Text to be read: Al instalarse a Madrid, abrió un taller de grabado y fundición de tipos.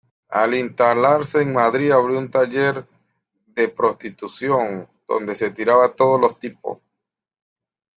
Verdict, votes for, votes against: rejected, 0, 2